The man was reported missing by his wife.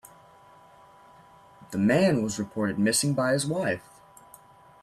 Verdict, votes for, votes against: accepted, 2, 0